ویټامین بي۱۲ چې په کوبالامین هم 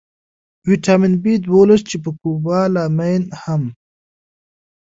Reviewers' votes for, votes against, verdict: 0, 2, rejected